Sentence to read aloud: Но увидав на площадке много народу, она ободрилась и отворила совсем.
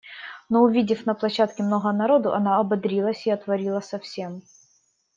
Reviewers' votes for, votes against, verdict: 0, 2, rejected